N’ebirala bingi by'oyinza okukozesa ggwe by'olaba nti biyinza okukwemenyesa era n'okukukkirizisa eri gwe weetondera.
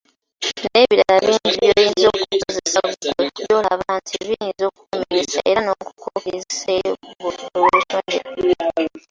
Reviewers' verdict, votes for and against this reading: rejected, 0, 2